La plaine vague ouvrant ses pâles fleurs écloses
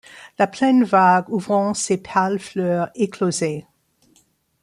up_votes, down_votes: 0, 2